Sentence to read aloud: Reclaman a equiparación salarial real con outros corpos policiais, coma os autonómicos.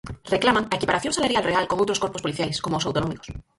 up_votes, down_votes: 0, 4